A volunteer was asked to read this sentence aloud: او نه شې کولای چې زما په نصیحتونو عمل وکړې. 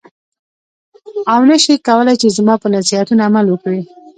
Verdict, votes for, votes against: rejected, 0, 2